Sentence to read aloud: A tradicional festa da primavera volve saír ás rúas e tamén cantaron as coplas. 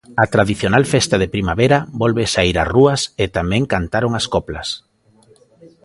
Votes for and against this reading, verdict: 0, 2, rejected